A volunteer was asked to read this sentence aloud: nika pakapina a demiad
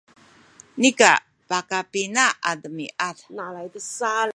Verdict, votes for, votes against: accepted, 2, 1